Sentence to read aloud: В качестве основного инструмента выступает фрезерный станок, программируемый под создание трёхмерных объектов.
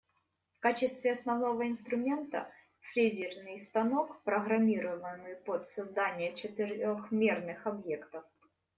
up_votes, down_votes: 0, 2